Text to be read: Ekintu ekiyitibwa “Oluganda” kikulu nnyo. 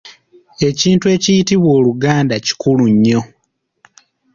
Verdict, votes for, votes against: rejected, 1, 2